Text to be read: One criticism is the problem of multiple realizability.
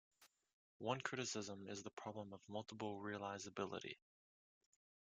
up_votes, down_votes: 1, 2